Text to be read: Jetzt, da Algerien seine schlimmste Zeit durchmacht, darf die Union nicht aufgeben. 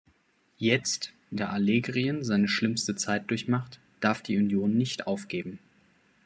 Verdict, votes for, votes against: rejected, 1, 2